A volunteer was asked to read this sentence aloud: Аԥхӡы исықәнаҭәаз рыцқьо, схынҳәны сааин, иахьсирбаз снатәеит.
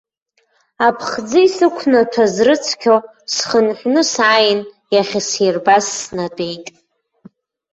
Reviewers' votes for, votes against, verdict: 2, 0, accepted